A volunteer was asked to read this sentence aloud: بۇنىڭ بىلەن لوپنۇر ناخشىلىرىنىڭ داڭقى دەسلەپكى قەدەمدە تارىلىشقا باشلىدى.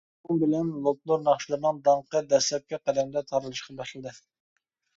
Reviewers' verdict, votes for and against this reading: rejected, 1, 2